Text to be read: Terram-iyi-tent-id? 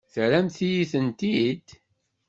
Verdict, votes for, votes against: rejected, 1, 2